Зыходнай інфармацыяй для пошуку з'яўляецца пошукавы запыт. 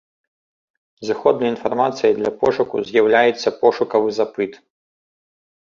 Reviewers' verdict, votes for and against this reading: accepted, 2, 0